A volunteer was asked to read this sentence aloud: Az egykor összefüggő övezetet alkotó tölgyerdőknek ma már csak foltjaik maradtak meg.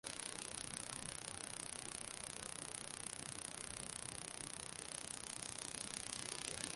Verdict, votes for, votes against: rejected, 0, 3